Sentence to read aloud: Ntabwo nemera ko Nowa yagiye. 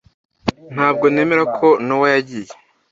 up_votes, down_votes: 2, 0